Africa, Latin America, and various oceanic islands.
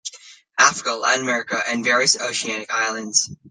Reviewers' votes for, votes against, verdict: 1, 2, rejected